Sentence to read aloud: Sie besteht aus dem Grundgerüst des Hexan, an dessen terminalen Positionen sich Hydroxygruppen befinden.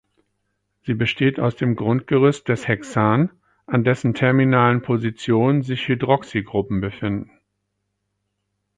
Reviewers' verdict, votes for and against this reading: rejected, 0, 4